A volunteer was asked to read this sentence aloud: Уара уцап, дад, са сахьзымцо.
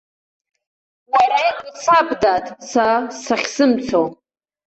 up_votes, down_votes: 0, 2